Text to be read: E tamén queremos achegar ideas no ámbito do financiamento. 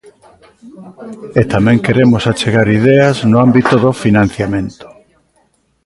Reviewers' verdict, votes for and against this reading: rejected, 1, 2